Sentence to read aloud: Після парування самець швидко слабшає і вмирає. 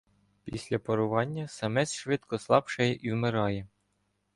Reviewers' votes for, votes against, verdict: 2, 0, accepted